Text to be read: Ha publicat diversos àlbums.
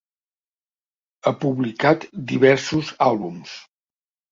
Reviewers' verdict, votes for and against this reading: accepted, 2, 0